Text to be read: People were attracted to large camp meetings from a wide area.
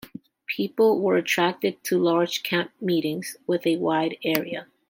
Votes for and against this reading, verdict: 1, 2, rejected